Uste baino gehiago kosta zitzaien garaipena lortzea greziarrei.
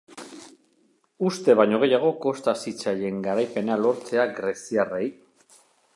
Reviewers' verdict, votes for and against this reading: accepted, 2, 0